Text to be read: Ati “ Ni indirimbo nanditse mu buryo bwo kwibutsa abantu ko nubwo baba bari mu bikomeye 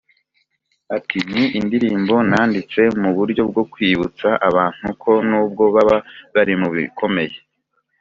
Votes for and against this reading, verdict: 3, 1, accepted